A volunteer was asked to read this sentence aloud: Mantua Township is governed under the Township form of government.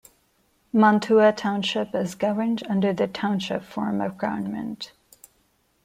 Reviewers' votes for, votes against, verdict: 2, 1, accepted